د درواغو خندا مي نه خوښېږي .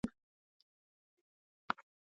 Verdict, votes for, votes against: rejected, 0, 2